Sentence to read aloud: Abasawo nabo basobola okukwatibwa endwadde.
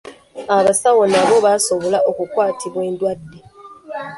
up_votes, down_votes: 1, 2